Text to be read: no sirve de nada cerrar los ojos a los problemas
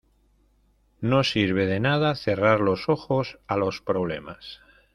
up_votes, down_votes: 2, 0